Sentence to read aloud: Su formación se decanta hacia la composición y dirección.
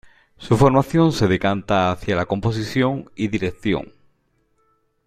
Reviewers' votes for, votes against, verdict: 2, 0, accepted